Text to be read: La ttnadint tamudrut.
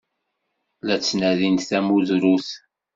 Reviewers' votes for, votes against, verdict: 1, 2, rejected